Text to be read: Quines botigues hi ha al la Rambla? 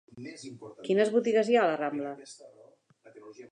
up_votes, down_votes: 1, 2